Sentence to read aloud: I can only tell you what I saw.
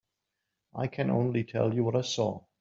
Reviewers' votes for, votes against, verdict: 3, 0, accepted